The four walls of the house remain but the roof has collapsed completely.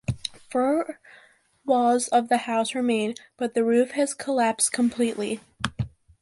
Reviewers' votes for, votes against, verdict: 1, 3, rejected